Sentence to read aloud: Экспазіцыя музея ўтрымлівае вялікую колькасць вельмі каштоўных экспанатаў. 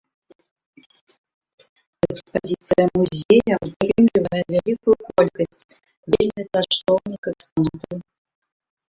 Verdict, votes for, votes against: rejected, 0, 2